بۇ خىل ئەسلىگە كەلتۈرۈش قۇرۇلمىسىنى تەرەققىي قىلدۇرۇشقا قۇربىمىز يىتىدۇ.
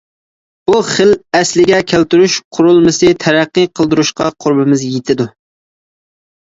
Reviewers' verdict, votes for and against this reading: rejected, 0, 2